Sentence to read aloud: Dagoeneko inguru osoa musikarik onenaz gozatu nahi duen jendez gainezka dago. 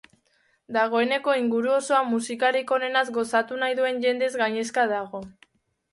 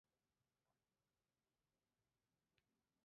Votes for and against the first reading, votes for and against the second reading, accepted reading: 2, 0, 0, 2, first